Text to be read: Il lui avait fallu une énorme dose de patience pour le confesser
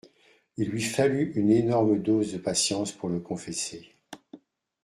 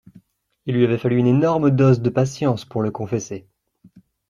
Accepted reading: second